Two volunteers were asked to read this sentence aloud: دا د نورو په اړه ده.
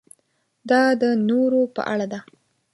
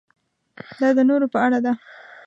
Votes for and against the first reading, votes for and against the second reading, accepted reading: 2, 0, 0, 2, first